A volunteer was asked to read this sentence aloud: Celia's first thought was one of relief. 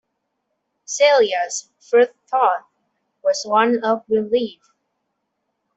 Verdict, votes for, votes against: accepted, 2, 0